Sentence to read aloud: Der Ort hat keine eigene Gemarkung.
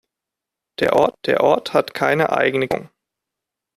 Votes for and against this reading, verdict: 0, 2, rejected